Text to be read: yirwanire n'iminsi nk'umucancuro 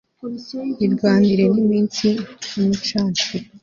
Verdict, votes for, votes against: accepted, 2, 0